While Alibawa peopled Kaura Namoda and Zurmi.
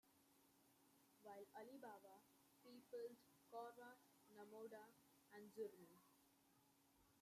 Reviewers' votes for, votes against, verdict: 1, 2, rejected